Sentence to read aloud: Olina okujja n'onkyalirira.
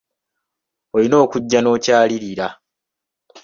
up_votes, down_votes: 2, 1